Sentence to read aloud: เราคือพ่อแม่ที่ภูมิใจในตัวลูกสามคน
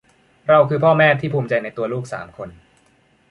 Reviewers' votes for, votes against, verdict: 2, 0, accepted